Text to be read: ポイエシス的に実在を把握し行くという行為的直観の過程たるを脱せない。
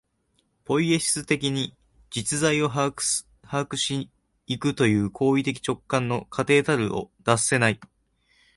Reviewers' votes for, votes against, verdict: 0, 2, rejected